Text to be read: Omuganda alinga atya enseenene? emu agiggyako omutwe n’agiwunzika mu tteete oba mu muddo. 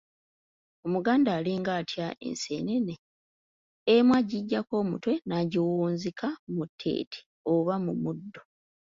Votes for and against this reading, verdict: 3, 0, accepted